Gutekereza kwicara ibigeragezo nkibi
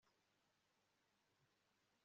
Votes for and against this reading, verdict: 3, 2, accepted